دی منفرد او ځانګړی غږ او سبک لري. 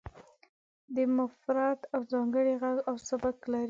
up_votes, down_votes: 1, 2